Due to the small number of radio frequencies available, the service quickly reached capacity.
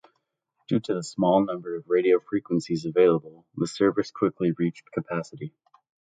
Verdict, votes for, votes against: rejected, 1, 2